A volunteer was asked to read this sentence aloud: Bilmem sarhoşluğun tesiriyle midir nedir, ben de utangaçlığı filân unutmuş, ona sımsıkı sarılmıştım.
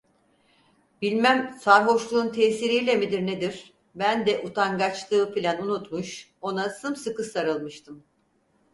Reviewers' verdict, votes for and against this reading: accepted, 4, 0